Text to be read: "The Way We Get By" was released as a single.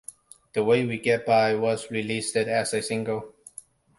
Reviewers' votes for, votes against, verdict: 2, 0, accepted